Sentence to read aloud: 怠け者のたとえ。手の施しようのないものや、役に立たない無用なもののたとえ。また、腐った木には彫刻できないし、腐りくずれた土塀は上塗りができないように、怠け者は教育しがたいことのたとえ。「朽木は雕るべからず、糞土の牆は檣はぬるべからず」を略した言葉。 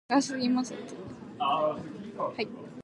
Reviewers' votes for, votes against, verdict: 0, 2, rejected